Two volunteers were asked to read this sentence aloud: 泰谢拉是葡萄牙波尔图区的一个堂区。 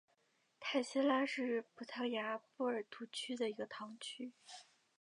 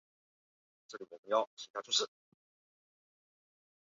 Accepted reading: first